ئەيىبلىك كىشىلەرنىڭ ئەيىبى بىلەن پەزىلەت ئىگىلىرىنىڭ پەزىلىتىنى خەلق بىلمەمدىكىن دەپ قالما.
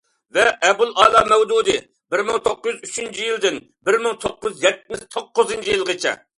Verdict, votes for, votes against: rejected, 0, 2